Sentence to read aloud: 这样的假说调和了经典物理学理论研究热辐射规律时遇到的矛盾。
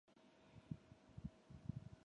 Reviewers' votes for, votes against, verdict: 0, 5, rejected